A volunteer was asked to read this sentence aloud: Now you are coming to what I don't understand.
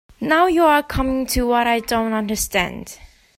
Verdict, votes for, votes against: accepted, 2, 0